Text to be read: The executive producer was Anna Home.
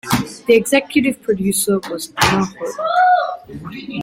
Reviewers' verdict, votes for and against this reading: rejected, 0, 2